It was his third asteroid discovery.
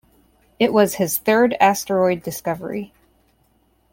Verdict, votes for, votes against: accepted, 2, 0